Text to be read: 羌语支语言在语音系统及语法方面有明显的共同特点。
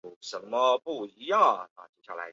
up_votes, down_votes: 0, 4